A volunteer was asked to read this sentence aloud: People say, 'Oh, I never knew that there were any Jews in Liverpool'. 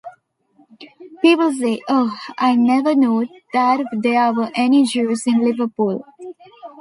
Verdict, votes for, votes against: accepted, 2, 1